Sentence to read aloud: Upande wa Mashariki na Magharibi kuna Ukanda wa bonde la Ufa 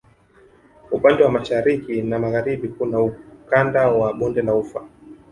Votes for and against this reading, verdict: 2, 1, accepted